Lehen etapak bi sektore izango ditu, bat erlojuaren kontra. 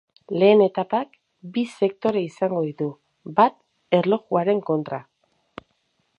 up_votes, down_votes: 0, 2